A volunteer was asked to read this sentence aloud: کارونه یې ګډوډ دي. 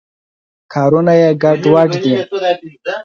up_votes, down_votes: 4, 2